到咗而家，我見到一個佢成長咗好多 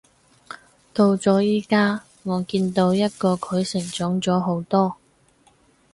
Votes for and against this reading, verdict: 2, 4, rejected